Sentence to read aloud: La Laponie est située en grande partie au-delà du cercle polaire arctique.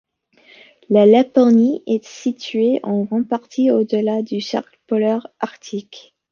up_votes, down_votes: 2, 1